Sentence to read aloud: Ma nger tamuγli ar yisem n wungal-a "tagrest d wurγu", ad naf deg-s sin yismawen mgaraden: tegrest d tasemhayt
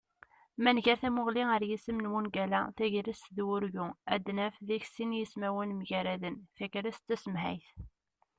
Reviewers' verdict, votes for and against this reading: rejected, 1, 2